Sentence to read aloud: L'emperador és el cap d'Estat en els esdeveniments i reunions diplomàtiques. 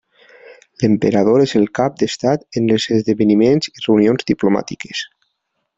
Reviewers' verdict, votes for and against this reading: rejected, 0, 2